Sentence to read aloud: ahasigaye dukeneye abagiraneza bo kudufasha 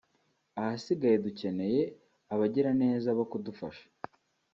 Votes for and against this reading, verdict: 4, 1, accepted